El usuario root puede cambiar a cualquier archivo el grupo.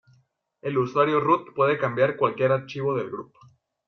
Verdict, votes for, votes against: rejected, 0, 2